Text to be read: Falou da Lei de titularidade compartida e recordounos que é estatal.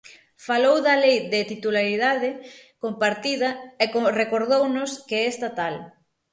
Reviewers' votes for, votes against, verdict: 0, 6, rejected